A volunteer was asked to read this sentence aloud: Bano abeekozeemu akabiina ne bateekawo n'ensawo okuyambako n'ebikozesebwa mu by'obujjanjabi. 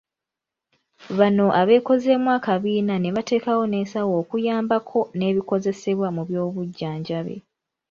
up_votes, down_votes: 2, 0